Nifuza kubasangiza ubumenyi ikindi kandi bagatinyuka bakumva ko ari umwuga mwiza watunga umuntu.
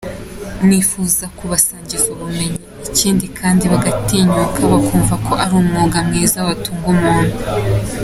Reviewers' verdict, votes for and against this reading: accepted, 2, 0